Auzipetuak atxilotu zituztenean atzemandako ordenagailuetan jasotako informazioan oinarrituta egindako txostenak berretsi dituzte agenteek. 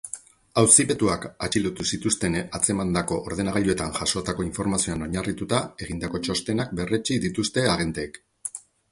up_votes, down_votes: 2, 4